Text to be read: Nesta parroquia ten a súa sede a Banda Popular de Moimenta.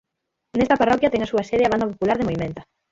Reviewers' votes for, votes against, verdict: 0, 6, rejected